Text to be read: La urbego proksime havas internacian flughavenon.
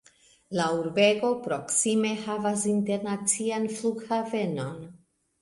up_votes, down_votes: 1, 2